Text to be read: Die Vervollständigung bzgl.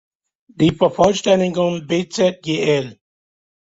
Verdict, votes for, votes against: accepted, 2, 0